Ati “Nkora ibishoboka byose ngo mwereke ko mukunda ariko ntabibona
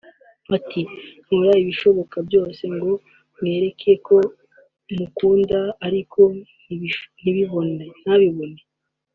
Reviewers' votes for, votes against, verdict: 1, 2, rejected